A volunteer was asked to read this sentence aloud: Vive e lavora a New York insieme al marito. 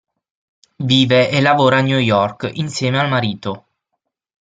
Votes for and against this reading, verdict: 6, 0, accepted